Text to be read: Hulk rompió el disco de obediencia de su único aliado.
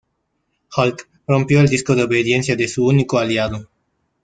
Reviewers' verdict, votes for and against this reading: accepted, 2, 1